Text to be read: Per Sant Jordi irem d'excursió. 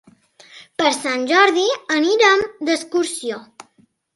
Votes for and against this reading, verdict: 0, 2, rejected